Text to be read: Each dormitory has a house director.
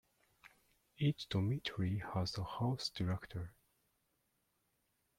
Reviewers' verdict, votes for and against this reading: rejected, 1, 2